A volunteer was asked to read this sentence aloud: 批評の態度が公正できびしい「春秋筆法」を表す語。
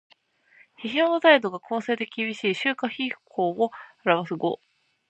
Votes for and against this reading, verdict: 2, 0, accepted